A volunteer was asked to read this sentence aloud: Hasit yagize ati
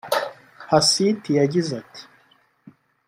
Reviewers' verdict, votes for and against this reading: rejected, 1, 2